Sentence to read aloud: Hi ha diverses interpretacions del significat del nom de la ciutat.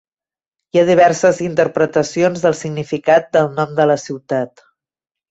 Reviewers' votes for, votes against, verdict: 3, 1, accepted